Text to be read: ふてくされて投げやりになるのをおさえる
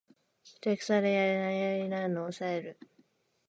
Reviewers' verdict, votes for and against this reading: rejected, 1, 2